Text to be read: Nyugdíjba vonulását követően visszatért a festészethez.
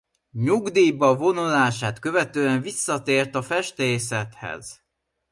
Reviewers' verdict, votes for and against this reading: accepted, 2, 0